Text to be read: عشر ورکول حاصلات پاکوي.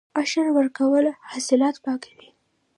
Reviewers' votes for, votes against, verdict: 1, 2, rejected